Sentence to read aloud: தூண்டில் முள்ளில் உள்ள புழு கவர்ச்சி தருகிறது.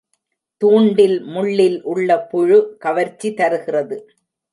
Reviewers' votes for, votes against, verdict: 2, 0, accepted